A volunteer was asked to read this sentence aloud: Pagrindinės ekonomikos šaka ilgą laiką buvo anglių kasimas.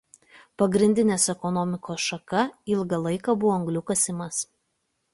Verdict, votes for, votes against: accepted, 2, 0